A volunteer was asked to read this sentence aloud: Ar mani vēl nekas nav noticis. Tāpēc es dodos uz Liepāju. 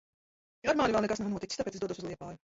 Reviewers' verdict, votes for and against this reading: rejected, 0, 2